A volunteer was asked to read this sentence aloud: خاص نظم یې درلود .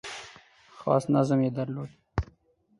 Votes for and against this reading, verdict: 4, 0, accepted